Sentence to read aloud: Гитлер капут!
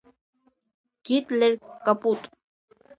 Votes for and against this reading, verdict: 0, 2, rejected